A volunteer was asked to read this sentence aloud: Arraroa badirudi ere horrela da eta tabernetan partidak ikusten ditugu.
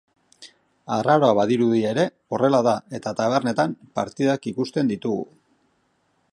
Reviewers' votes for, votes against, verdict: 2, 0, accepted